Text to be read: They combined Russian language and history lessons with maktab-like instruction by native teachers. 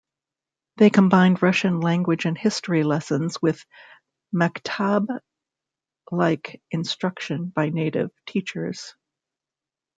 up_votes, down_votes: 2, 0